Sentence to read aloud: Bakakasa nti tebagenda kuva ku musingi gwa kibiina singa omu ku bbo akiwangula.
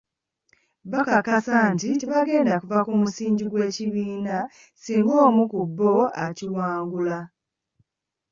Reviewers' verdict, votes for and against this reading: rejected, 1, 2